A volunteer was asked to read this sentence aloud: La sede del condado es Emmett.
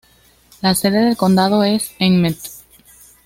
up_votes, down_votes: 2, 0